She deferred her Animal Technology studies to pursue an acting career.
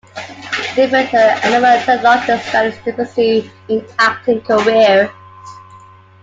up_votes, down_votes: 0, 3